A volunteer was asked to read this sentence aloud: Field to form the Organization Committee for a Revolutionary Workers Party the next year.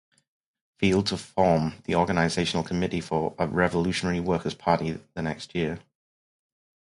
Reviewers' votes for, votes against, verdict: 2, 2, rejected